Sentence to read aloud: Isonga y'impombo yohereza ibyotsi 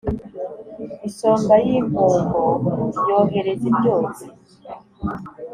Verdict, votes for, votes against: accepted, 2, 0